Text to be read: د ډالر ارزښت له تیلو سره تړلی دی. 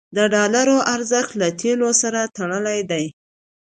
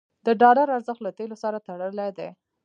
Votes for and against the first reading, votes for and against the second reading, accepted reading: 2, 0, 0, 2, first